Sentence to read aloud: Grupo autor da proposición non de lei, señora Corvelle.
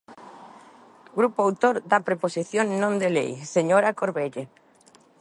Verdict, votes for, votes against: rejected, 1, 2